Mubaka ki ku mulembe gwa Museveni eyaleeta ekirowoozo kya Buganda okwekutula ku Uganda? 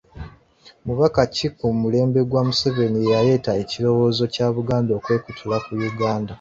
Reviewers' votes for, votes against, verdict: 4, 0, accepted